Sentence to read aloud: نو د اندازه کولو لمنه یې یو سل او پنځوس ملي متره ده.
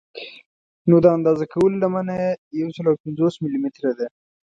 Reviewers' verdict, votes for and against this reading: accepted, 2, 0